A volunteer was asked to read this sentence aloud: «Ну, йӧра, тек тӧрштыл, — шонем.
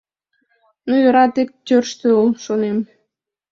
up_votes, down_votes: 2, 0